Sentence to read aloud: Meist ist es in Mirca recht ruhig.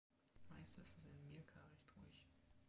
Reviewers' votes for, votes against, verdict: 0, 2, rejected